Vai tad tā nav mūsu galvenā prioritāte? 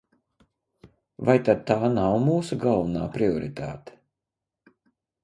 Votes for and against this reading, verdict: 2, 0, accepted